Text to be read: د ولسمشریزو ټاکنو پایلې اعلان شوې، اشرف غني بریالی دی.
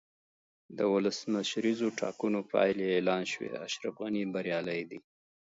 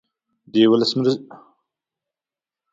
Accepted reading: first